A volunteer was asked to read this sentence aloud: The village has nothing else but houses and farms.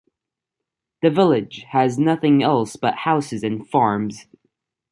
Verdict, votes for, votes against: accepted, 2, 0